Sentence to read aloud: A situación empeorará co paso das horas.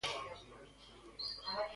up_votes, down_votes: 0, 2